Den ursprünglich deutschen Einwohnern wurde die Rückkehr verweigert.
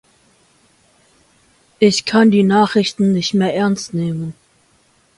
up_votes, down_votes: 0, 2